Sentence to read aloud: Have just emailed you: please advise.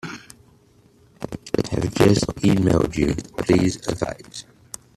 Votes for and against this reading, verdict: 0, 2, rejected